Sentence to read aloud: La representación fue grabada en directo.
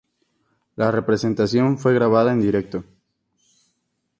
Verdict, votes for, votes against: accepted, 2, 0